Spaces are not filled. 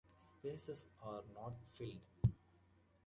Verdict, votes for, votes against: rejected, 1, 2